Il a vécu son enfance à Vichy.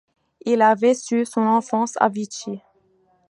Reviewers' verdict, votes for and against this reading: accepted, 2, 1